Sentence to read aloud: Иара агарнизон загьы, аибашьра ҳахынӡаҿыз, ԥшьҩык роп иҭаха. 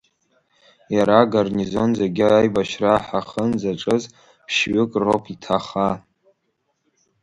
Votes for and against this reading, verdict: 2, 1, accepted